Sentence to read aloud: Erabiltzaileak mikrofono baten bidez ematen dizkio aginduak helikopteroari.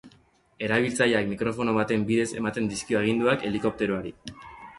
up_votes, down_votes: 0, 2